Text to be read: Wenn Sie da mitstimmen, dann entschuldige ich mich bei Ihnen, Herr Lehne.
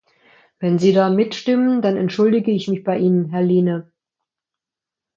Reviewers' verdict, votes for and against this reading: accepted, 2, 0